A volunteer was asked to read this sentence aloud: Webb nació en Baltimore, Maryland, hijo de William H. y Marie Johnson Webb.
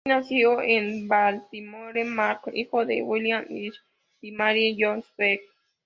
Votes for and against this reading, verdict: 0, 2, rejected